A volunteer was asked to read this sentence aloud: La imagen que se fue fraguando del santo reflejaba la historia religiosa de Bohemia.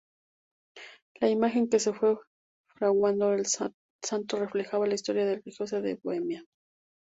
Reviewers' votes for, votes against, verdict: 2, 2, rejected